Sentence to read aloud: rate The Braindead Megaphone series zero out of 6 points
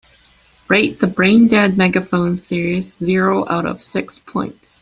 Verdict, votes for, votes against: rejected, 0, 2